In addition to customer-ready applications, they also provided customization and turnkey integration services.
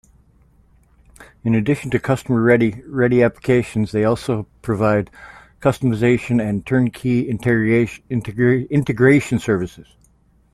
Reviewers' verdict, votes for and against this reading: rejected, 0, 2